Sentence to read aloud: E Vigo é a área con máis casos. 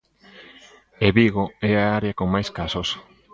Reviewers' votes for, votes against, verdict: 1, 2, rejected